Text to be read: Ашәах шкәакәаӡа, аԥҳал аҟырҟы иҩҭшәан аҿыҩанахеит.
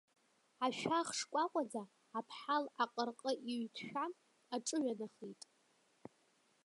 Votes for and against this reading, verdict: 2, 0, accepted